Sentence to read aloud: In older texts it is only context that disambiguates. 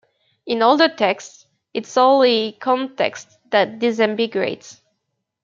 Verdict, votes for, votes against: rejected, 0, 2